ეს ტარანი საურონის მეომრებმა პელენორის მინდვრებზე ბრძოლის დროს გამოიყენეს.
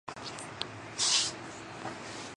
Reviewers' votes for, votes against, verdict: 1, 2, rejected